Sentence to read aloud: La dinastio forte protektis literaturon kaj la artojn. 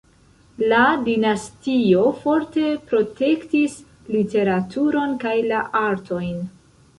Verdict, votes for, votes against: rejected, 1, 2